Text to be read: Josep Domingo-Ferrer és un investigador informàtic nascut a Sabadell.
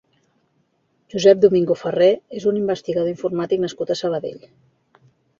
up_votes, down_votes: 2, 0